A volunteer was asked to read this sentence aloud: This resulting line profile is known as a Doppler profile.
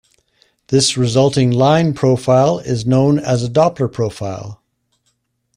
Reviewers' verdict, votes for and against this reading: accepted, 2, 0